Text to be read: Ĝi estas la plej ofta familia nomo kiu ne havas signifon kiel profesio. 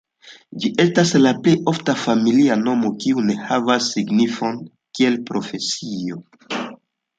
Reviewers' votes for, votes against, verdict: 2, 0, accepted